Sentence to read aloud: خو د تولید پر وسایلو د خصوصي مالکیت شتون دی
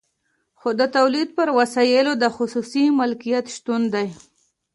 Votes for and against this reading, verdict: 2, 0, accepted